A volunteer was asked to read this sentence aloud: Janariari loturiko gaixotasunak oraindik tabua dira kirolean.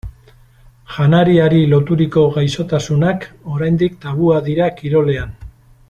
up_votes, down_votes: 2, 0